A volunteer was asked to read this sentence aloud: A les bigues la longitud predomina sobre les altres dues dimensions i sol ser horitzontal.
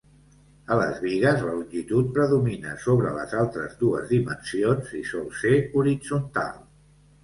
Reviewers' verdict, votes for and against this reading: accepted, 2, 0